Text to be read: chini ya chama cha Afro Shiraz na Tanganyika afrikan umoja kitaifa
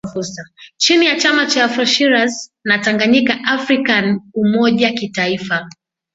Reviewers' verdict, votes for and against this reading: accepted, 2, 0